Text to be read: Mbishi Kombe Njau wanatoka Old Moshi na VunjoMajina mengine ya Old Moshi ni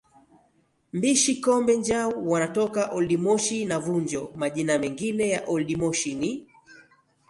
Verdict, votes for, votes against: accepted, 2, 0